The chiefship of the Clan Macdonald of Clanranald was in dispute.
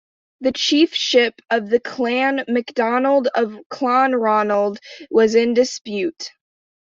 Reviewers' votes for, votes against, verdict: 2, 0, accepted